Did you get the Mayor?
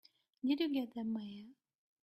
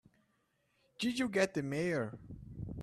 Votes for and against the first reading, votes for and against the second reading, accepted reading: 1, 2, 3, 0, second